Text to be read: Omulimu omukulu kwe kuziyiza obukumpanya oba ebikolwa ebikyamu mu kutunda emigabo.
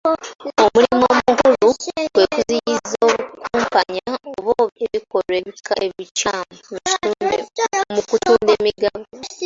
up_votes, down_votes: 0, 2